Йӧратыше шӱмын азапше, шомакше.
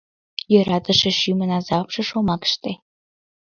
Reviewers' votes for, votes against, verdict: 1, 2, rejected